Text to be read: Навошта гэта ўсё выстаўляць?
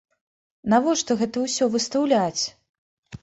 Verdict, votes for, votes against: accepted, 2, 0